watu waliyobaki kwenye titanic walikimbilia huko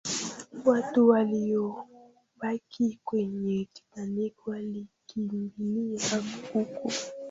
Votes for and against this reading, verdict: 0, 2, rejected